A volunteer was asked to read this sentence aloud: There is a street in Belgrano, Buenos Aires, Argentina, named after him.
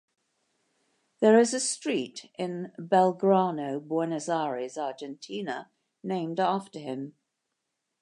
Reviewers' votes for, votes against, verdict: 3, 0, accepted